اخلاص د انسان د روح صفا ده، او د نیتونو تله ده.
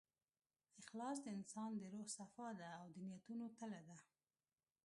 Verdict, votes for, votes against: rejected, 1, 2